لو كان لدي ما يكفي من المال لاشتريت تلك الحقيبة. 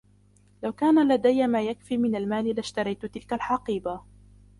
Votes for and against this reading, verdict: 1, 2, rejected